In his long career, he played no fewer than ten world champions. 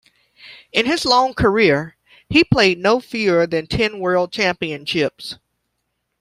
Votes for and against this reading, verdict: 0, 2, rejected